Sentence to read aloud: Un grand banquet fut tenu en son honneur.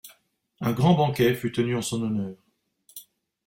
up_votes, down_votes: 2, 0